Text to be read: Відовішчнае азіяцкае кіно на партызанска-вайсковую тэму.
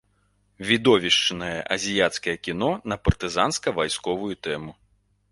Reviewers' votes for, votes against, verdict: 2, 0, accepted